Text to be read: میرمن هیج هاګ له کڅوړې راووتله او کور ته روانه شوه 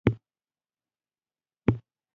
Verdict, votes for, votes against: rejected, 1, 2